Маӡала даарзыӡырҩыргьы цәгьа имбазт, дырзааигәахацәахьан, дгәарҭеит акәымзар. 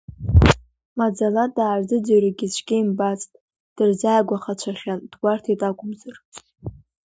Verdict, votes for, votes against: accepted, 2, 0